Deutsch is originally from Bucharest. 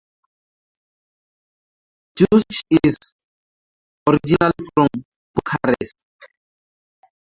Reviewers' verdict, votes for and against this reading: rejected, 0, 2